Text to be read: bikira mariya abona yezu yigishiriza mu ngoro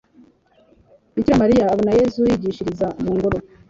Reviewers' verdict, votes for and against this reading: accepted, 2, 0